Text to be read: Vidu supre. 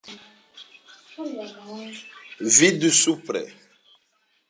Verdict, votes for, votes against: accepted, 2, 0